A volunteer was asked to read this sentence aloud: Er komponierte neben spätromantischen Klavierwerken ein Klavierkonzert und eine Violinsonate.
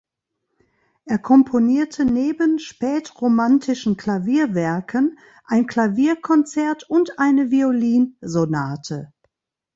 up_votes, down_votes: 2, 0